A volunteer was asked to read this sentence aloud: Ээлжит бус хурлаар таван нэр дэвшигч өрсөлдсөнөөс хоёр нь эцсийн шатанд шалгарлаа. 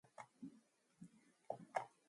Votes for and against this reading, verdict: 2, 0, accepted